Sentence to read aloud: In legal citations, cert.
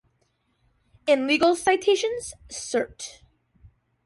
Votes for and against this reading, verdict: 2, 0, accepted